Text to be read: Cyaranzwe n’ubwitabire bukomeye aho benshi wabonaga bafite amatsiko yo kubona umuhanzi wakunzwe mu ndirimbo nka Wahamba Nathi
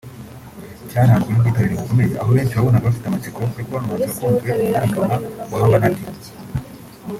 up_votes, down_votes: 1, 2